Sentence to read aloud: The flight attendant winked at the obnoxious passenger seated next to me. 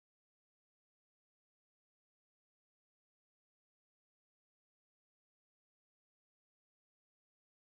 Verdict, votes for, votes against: rejected, 0, 2